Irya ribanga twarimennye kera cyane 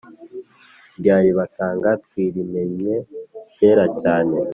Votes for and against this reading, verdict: 3, 0, accepted